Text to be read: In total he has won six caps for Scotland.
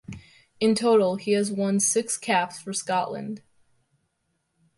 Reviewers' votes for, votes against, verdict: 2, 0, accepted